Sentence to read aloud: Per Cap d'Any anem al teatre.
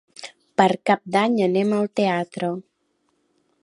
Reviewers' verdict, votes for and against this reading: accepted, 3, 0